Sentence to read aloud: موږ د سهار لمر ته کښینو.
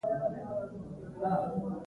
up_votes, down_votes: 0, 2